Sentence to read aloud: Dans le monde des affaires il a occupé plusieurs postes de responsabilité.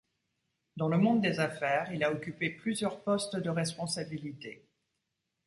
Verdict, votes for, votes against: accepted, 2, 0